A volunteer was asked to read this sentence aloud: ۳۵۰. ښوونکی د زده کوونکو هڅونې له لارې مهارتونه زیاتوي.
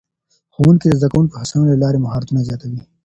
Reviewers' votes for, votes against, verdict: 0, 2, rejected